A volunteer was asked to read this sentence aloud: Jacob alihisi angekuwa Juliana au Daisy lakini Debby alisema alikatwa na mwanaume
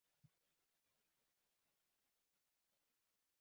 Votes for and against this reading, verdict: 0, 4, rejected